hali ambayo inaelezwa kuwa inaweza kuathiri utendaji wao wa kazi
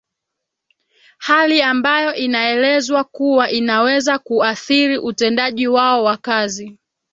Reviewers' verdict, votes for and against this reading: accepted, 2, 0